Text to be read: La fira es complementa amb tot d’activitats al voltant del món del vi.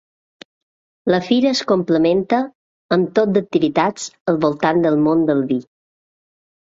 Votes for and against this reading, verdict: 2, 0, accepted